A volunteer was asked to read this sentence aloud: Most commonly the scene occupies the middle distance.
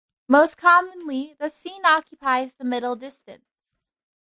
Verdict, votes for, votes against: accepted, 2, 0